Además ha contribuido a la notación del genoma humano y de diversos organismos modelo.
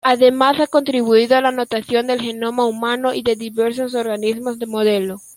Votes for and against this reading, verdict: 0, 2, rejected